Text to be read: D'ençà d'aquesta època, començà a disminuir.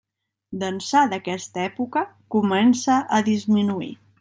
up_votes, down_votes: 1, 2